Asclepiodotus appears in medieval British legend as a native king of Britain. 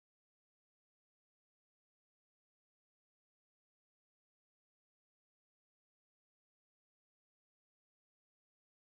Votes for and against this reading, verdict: 0, 2, rejected